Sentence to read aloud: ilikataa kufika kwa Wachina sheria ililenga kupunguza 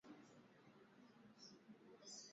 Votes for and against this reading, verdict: 2, 14, rejected